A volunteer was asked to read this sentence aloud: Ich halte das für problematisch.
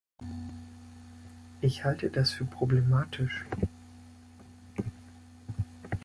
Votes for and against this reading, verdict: 2, 0, accepted